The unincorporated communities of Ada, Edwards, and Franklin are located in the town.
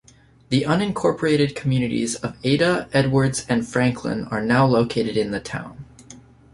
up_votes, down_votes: 0, 2